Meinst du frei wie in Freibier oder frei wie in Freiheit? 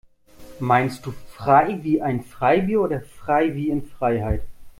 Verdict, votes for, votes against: rejected, 0, 2